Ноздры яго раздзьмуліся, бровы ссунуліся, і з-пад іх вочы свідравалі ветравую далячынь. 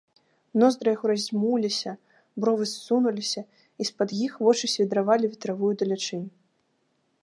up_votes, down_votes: 2, 0